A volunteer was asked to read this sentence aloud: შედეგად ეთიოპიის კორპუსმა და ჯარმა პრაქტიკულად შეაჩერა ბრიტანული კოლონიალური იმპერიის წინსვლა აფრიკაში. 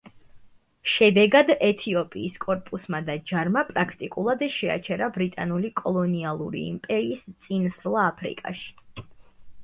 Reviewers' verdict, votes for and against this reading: accepted, 2, 0